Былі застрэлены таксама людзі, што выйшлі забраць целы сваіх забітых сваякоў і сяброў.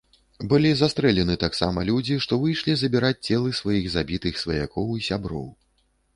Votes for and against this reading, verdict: 0, 2, rejected